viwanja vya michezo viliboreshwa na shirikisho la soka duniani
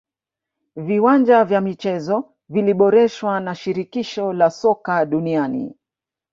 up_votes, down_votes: 1, 2